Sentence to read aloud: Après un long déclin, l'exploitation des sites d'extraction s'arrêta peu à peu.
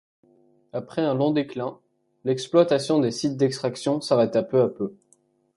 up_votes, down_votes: 3, 0